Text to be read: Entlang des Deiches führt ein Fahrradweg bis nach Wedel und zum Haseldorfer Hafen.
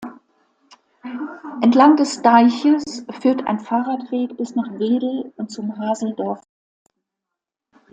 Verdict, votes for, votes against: rejected, 1, 2